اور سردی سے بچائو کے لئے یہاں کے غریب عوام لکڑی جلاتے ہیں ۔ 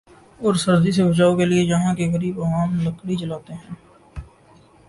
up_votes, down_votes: 1, 2